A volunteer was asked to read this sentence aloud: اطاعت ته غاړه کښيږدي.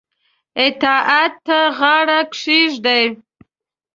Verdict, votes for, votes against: accepted, 2, 0